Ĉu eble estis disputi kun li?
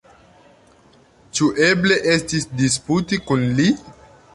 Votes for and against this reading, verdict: 3, 1, accepted